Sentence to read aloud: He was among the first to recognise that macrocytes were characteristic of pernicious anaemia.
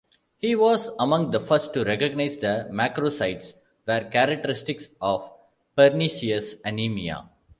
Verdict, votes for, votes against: rejected, 1, 2